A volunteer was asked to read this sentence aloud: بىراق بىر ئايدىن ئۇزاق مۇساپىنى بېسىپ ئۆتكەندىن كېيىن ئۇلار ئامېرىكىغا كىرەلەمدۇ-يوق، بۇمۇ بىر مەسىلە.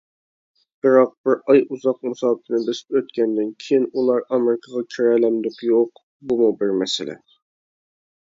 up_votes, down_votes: 0, 2